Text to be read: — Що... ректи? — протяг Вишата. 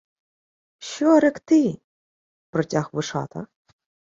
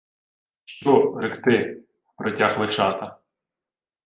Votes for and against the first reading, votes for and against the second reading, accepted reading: 2, 0, 1, 2, first